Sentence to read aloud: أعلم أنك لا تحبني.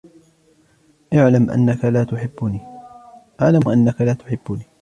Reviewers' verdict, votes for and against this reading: rejected, 0, 2